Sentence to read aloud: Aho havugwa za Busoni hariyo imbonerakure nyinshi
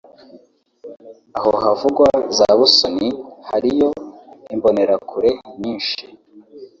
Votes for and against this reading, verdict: 0, 2, rejected